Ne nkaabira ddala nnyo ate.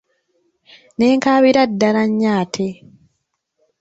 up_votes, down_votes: 1, 2